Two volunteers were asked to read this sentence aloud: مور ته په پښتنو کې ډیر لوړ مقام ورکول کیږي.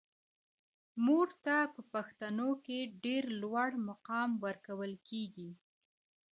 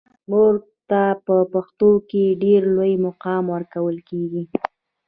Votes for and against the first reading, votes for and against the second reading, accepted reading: 2, 1, 1, 3, first